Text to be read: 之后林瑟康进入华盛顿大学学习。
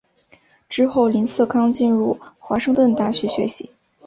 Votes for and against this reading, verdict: 2, 0, accepted